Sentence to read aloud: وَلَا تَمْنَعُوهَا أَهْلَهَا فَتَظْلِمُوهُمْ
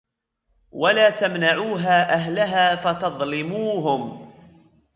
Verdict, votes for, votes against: rejected, 1, 2